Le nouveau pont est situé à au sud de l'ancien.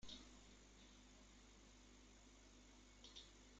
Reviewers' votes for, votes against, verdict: 0, 2, rejected